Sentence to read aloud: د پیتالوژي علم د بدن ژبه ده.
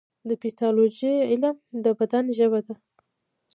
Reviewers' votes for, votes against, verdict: 2, 1, accepted